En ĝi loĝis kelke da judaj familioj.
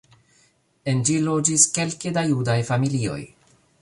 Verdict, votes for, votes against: rejected, 1, 2